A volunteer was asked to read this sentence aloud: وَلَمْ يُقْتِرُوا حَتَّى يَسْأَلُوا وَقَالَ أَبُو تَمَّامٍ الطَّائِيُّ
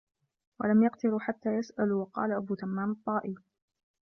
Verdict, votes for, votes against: rejected, 1, 2